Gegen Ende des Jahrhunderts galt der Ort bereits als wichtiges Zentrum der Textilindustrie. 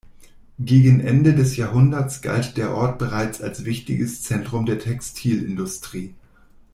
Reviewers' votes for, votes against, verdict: 2, 0, accepted